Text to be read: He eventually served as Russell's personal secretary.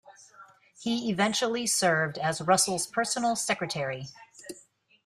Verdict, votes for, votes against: accepted, 2, 0